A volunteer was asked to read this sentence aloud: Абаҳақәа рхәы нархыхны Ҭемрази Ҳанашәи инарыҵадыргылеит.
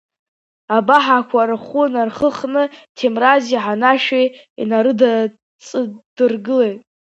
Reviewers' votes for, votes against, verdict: 2, 0, accepted